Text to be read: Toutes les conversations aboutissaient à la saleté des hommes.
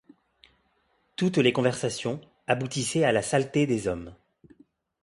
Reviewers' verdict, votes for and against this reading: accepted, 2, 0